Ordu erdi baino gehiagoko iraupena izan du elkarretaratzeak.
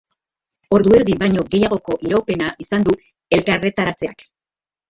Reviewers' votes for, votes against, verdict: 2, 0, accepted